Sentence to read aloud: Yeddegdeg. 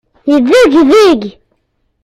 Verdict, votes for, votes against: rejected, 0, 2